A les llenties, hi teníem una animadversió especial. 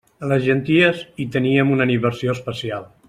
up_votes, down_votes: 1, 2